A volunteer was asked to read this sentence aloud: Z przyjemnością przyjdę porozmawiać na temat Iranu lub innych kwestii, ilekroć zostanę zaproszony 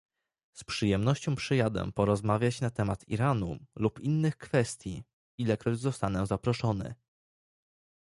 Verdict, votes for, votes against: rejected, 1, 2